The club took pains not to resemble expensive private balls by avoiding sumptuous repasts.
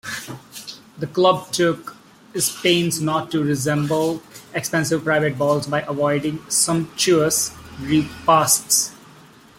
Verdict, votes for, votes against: accepted, 2, 1